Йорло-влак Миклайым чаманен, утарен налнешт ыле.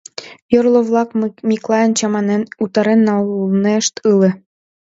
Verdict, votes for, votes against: rejected, 1, 2